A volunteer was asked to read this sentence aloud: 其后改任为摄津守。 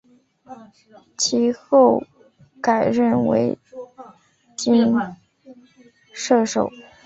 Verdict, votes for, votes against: rejected, 0, 2